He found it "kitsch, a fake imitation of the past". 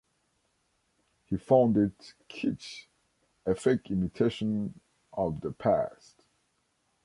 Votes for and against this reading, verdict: 3, 0, accepted